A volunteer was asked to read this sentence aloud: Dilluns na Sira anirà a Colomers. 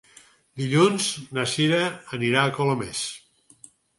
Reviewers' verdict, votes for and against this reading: accepted, 8, 0